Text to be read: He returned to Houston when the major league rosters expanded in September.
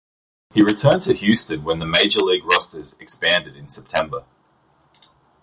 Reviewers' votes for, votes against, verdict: 2, 0, accepted